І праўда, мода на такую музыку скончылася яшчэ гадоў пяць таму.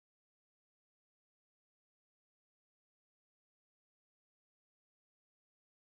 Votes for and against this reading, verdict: 0, 2, rejected